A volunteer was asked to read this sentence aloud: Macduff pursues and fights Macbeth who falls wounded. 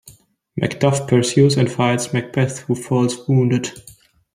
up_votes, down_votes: 1, 2